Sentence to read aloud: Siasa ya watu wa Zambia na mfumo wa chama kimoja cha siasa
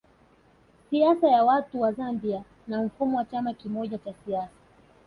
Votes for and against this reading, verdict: 2, 0, accepted